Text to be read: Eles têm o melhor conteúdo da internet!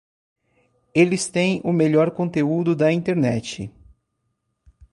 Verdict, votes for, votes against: accepted, 2, 0